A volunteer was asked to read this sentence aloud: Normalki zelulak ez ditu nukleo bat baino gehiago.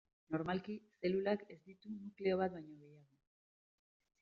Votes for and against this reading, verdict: 1, 2, rejected